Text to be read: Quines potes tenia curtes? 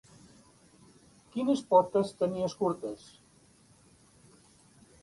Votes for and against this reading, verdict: 0, 2, rejected